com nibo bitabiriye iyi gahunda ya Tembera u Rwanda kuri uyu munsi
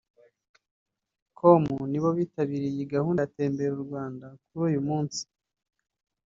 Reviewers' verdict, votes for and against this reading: rejected, 1, 2